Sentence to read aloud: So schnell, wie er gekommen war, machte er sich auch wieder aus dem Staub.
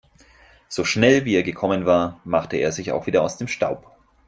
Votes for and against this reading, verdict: 4, 0, accepted